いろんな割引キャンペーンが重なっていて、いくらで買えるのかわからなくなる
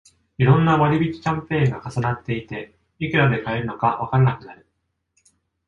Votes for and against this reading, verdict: 2, 0, accepted